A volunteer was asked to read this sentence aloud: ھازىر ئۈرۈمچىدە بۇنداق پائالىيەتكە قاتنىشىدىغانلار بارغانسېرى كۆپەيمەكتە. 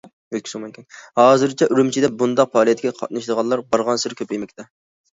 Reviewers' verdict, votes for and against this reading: rejected, 1, 2